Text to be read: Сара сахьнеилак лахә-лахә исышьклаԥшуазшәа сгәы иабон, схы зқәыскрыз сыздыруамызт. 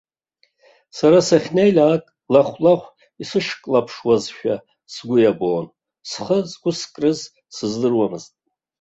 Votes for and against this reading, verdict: 1, 2, rejected